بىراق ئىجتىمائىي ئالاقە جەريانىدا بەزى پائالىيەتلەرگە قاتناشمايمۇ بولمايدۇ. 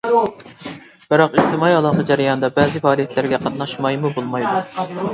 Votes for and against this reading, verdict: 1, 2, rejected